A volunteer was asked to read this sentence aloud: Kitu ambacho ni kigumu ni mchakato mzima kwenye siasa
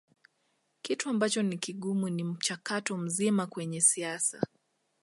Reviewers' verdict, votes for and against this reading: accepted, 2, 0